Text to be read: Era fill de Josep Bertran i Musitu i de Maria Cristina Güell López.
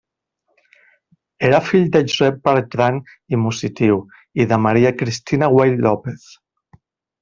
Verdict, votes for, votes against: rejected, 0, 2